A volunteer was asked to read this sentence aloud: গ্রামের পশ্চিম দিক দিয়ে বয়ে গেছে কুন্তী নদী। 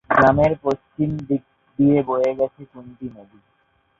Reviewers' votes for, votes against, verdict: 4, 2, accepted